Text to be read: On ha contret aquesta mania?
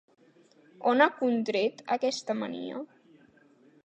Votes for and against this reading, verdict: 2, 0, accepted